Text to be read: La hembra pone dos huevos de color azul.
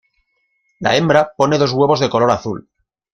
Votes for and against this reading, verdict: 2, 0, accepted